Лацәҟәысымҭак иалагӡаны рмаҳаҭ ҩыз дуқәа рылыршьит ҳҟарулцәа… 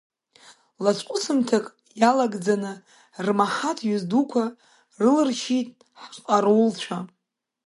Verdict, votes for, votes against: accepted, 2, 1